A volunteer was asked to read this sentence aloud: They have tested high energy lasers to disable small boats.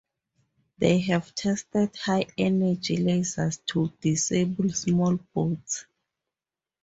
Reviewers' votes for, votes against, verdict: 2, 0, accepted